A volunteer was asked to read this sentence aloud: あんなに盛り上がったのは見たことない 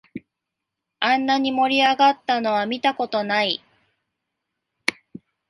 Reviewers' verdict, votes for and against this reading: accepted, 2, 0